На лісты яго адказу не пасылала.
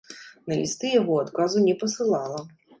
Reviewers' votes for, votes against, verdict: 2, 0, accepted